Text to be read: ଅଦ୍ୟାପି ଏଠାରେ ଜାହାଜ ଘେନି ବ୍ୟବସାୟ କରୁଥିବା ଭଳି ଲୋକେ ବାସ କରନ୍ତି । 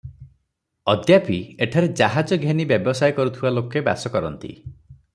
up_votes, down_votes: 3, 3